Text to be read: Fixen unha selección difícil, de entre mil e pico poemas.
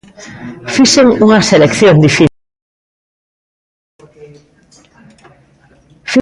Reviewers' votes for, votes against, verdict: 0, 2, rejected